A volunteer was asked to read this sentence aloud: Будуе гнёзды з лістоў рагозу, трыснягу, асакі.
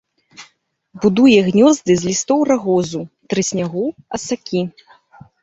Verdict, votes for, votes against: accepted, 2, 0